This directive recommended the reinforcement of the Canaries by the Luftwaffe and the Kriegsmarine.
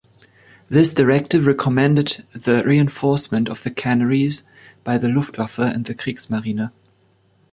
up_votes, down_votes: 0, 3